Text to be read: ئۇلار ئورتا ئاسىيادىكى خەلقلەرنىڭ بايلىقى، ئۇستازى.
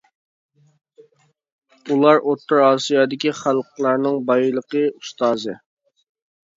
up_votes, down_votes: 0, 2